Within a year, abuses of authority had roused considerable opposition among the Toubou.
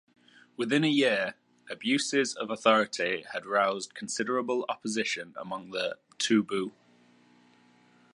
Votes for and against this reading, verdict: 2, 0, accepted